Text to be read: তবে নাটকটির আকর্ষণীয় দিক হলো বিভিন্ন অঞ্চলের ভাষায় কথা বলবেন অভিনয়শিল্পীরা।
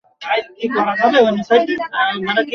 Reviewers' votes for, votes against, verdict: 0, 2, rejected